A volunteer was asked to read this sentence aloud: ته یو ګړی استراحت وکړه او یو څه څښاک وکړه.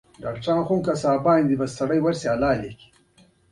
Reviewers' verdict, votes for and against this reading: rejected, 0, 2